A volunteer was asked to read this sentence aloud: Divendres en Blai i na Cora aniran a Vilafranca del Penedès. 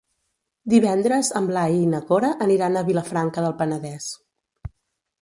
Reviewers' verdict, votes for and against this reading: accepted, 2, 0